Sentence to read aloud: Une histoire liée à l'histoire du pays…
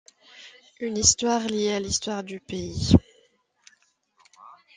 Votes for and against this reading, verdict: 2, 0, accepted